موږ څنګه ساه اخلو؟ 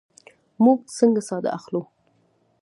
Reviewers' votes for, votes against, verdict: 1, 2, rejected